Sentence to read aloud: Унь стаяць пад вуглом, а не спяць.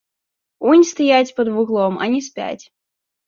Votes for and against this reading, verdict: 2, 0, accepted